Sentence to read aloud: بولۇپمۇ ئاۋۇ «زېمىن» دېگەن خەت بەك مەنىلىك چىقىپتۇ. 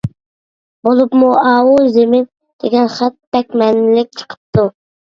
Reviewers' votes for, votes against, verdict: 2, 0, accepted